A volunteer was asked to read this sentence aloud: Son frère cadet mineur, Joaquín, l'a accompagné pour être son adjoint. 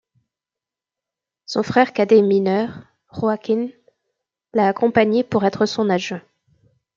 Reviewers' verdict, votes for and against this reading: rejected, 1, 2